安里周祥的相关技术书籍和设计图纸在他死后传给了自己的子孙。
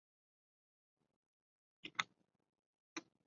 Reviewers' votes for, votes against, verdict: 0, 2, rejected